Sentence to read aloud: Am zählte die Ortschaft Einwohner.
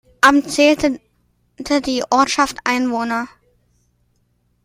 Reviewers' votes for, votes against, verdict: 2, 1, accepted